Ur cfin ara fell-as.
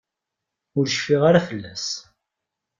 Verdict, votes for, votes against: rejected, 1, 2